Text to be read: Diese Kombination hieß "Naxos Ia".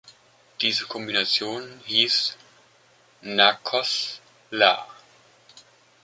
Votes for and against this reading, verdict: 0, 2, rejected